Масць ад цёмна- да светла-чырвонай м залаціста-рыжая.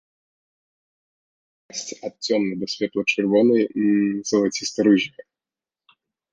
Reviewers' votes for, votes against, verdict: 0, 2, rejected